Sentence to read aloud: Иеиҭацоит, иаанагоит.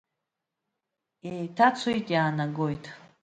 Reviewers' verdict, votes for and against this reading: accepted, 2, 0